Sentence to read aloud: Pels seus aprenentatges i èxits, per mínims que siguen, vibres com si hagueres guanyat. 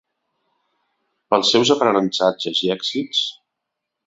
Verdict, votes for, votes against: rejected, 0, 2